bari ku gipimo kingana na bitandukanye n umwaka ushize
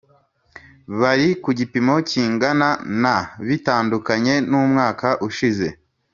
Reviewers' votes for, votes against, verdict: 3, 0, accepted